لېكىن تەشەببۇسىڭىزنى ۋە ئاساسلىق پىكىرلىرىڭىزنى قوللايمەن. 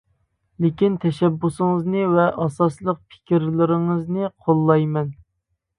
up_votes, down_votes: 2, 1